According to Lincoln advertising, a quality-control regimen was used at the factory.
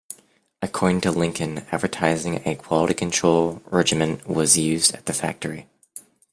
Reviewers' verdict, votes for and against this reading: accepted, 2, 1